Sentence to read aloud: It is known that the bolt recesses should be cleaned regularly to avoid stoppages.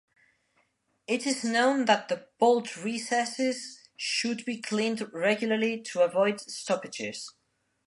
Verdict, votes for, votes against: accepted, 2, 0